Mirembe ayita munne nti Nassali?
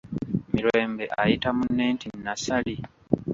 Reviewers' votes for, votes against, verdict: 0, 2, rejected